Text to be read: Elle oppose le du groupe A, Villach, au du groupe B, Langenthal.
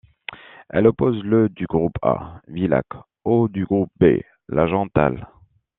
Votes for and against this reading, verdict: 2, 0, accepted